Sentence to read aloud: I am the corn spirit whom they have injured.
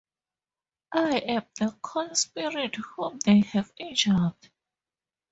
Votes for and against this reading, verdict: 2, 0, accepted